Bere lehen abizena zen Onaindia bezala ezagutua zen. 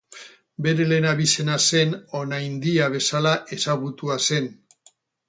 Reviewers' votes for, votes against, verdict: 0, 2, rejected